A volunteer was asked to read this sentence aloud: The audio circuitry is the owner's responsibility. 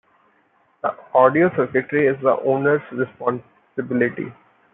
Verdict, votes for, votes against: accepted, 2, 1